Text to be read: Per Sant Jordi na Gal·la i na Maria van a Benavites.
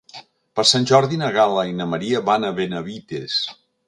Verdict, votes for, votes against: accepted, 2, 0